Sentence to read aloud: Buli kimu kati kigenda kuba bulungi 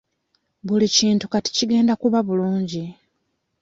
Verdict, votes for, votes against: rejected, 0, 2